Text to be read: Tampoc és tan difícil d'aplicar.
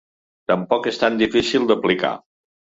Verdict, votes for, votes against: accepted, 2, 0